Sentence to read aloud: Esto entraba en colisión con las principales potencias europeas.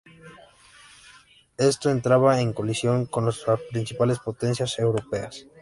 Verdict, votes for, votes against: rejected, 0, 2